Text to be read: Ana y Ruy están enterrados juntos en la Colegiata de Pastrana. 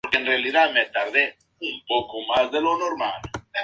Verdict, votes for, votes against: accepted, 2, 0